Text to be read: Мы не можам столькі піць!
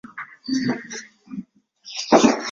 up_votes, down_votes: 0, 2